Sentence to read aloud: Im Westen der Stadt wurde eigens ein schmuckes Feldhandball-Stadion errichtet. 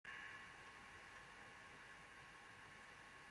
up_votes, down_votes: 0, 2